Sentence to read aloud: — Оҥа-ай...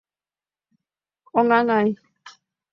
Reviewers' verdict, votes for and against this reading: rejected, 1, 2